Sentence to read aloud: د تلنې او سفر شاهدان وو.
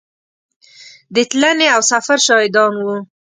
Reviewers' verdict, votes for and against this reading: accepted, 2, 0